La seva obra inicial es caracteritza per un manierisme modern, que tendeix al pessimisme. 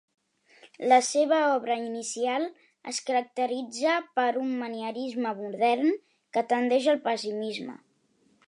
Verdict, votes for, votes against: accepted, 3, 0